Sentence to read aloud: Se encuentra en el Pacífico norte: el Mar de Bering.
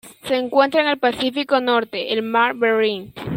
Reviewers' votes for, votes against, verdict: 0, 2, rejected